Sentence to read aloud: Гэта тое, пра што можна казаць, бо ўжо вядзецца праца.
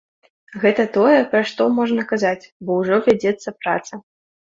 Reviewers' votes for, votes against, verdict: 2, 0, accepted